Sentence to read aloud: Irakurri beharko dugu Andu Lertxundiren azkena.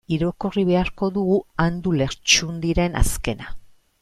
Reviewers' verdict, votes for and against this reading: rejected, 1, 2